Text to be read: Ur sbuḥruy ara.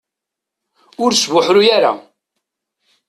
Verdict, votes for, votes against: accepted, 2, 0